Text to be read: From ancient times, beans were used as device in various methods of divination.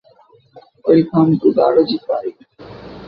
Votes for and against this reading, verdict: 0, 2, rejected